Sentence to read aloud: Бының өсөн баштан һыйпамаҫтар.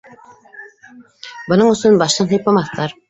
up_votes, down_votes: 2, 0